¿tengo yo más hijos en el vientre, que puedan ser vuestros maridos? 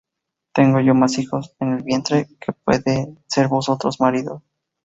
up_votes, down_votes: 0, 4